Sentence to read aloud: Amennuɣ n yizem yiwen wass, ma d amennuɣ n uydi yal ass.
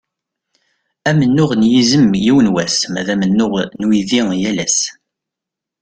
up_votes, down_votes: 2, 0